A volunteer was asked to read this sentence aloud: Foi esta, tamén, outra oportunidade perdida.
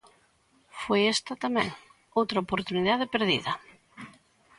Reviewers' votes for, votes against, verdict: 3, 0, accepted